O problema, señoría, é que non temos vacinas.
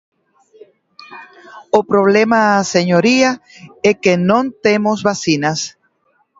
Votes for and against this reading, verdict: 2, 1, accepted